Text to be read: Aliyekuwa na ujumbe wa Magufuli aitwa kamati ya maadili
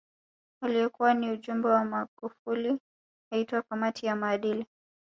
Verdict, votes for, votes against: rejected, 3, 4